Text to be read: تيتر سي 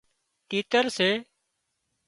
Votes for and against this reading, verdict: 2, 0, accepted